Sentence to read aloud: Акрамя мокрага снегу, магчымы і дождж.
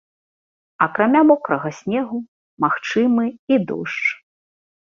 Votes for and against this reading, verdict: 2, 0, accepted